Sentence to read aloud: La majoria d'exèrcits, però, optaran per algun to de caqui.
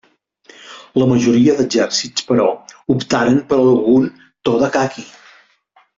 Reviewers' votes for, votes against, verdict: 0, 2, rejected